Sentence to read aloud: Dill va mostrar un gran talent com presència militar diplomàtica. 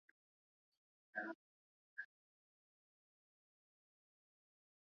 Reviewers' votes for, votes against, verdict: 0, 2, rejected